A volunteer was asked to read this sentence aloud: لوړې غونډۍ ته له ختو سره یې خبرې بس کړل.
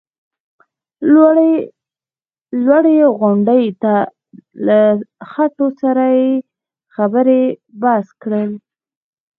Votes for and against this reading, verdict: 2, 1, accepted